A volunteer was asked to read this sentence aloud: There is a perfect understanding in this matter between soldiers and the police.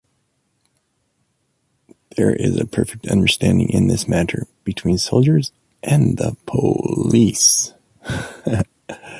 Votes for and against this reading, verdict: 2, 0, accepted